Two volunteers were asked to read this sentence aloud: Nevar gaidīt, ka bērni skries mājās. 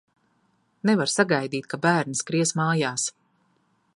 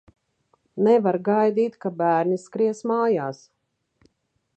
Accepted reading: second